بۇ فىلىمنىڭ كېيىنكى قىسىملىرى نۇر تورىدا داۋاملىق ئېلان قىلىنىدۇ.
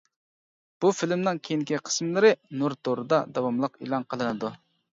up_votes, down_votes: 2, 0